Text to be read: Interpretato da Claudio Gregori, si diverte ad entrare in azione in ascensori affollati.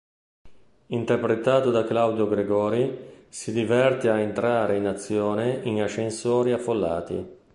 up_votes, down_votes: 2, 0